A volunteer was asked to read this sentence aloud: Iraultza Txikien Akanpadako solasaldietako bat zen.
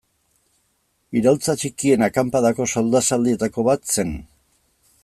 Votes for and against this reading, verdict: 0, 2, rejected